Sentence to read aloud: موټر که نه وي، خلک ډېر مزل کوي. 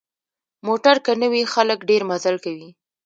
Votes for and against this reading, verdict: 1, 2, rejected